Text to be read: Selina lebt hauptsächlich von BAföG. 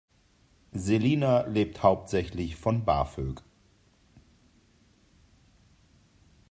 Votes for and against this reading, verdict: 2, 0, accepted